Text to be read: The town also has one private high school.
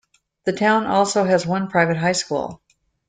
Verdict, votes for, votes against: accepted, 2, 0